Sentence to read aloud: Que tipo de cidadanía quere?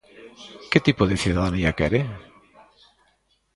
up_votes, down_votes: 2, 0